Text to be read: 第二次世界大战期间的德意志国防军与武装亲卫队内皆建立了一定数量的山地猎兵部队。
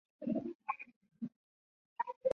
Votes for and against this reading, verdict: 0, 2, rejected